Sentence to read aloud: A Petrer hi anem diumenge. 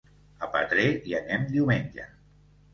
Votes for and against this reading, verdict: 2, 0, accepted